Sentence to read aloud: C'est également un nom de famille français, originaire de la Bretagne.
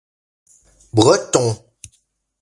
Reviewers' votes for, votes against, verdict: 0, 2, rejected